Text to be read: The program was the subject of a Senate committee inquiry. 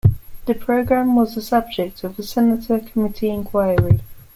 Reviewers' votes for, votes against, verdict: 1, 2, rejected